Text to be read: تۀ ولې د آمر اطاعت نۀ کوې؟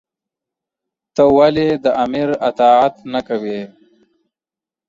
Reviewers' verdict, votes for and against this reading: accepted, 2, 0